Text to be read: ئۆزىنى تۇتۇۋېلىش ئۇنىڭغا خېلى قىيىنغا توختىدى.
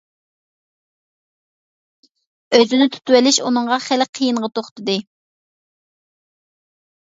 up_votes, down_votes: 2, 0